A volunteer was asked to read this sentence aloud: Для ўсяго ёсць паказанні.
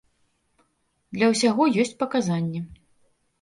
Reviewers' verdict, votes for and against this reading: accepted, 2, 0